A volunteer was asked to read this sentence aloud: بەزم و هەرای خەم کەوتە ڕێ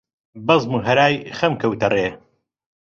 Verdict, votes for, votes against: accepted, 2, 0